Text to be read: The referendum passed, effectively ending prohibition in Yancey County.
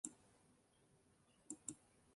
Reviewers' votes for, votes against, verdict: 0, 2, rejected